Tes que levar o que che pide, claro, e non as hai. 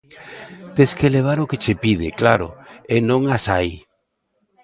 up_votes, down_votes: 2, 0